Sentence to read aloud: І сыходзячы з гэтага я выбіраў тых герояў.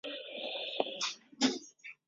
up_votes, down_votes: 0, 2